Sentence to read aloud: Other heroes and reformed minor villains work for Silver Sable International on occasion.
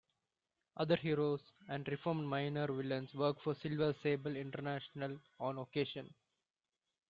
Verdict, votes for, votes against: accepted, 2, 0